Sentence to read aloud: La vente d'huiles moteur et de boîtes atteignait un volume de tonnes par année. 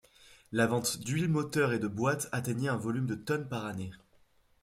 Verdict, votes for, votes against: accepted, 2, 0